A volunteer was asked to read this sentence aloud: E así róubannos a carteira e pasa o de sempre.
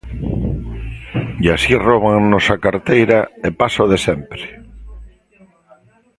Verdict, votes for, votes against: rejected, 1, 2